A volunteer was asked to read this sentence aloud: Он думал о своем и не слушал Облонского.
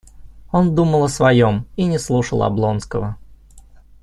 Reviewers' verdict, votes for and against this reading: accepted, 2, 0